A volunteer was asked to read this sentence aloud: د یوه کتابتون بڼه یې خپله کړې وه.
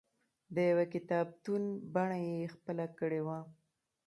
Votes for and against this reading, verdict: 2, 1, accepted